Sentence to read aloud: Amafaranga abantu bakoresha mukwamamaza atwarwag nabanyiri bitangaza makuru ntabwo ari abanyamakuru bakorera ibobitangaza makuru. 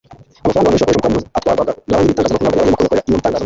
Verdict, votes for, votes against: rejected, 1, 2